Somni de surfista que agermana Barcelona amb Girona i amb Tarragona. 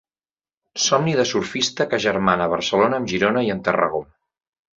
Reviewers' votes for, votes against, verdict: 1, 2, rejected